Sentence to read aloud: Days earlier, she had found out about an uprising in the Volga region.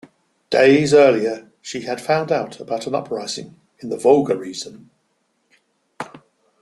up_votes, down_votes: 0, 2